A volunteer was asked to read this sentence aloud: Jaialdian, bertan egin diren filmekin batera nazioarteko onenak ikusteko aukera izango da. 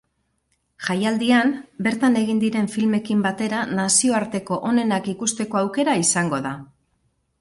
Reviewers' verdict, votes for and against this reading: accepted, 6, 2